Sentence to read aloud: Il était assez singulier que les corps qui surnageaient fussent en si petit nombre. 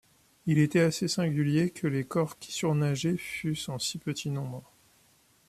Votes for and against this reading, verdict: 2, 0, accepted